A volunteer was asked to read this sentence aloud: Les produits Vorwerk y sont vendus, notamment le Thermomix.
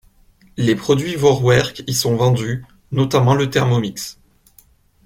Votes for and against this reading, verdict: 2, 0, accepted